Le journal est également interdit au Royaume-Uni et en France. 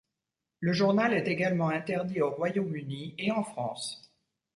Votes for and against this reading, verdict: 2, 0, accepted